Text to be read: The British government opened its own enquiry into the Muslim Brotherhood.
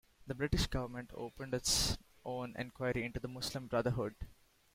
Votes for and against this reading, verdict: 2, 1, accepted